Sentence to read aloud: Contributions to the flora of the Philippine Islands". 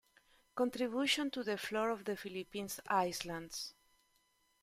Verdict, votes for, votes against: rejected, 1, 2